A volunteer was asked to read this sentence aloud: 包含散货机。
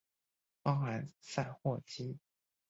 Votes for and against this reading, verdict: 1, 2, rejected